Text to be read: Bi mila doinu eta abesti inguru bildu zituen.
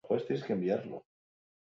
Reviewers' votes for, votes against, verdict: 0, 2, rejected